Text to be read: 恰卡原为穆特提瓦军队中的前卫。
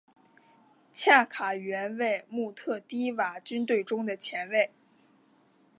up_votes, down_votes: 2, 0